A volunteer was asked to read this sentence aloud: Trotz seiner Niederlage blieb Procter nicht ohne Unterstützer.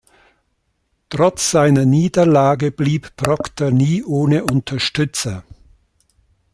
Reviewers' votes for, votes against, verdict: 0, 2, rejected